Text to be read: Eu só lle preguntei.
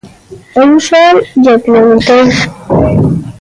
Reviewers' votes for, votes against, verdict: 1, 2, rejected